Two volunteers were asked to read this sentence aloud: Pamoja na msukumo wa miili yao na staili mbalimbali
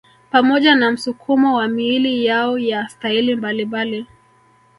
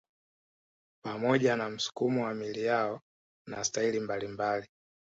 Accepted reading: first